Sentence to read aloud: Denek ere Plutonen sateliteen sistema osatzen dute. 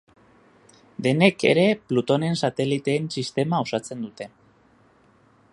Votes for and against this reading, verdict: 2, 0, accepted